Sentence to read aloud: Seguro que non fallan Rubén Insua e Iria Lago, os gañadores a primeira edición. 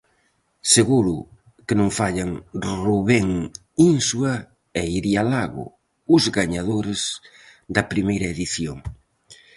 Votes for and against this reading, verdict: 2, 2, rejected